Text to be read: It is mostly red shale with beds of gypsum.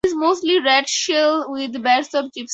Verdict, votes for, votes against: rejected, 0, 4